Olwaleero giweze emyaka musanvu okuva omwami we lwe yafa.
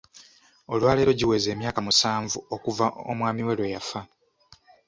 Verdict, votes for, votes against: accepted, 2, 0